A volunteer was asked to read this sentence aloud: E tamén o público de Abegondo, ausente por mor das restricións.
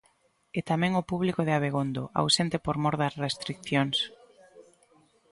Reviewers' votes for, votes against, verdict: 0, 2, rejected